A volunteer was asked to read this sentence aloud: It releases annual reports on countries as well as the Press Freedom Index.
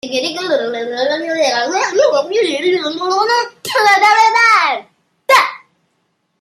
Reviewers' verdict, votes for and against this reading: rejected, 0, 2